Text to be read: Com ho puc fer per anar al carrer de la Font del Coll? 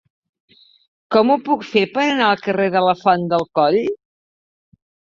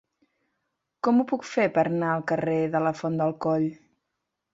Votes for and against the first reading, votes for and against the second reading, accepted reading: 6, 0, 2, 4, first